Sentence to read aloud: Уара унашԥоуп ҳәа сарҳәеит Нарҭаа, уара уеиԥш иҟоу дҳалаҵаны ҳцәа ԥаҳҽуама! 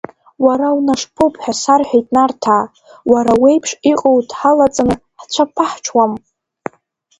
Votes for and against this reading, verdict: 1, 2, rejected